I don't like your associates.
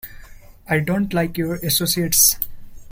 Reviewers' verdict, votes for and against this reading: accepted, 2, 0